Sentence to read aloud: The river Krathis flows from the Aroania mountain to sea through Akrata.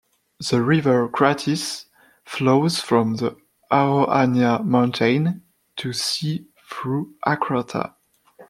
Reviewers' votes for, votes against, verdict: 2, 1, accepted